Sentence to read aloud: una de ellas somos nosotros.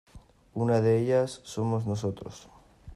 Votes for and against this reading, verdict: 2, 0, accepted